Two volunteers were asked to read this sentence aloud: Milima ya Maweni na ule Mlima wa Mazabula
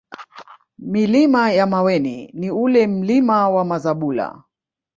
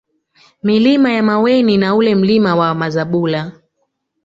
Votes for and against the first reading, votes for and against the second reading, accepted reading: 1, 2, 2, 0, second